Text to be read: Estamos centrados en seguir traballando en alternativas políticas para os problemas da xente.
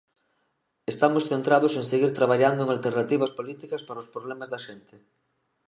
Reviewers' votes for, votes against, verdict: 0, 2, rejected